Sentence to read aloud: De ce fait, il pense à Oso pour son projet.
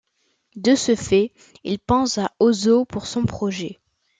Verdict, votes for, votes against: accepted, 2, 0